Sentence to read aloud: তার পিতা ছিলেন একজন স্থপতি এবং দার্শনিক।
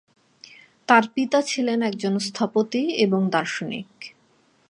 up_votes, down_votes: 2, 0